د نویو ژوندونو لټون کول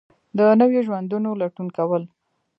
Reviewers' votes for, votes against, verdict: 1, 2, rejected